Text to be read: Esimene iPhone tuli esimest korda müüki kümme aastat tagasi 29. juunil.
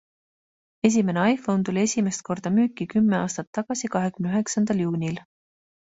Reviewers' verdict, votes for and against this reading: rejected, 0, 2